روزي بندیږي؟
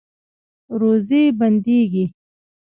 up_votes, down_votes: 1, 2